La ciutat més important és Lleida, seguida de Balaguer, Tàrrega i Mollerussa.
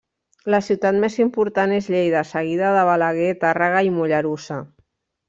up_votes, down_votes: 2, 0